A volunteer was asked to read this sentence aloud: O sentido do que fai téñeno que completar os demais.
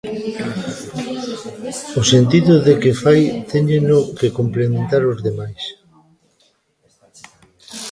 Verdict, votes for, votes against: rejected, 0, 2